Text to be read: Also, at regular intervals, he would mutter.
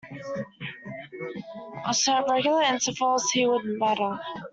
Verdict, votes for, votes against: rejected, 1, 2